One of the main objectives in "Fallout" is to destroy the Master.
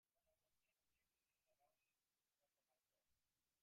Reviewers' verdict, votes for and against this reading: rejected, 0, 3